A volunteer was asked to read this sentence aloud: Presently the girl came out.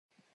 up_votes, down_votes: 0, 2